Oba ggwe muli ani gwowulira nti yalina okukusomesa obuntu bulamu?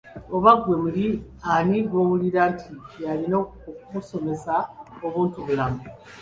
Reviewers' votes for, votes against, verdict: 2, 0, accepted